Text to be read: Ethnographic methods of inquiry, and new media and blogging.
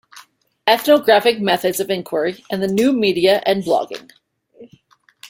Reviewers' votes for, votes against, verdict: 1, 2, rejected